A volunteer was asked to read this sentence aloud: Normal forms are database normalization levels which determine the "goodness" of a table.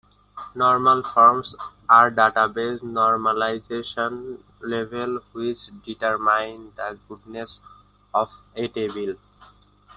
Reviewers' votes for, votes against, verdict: 0, 2, rejected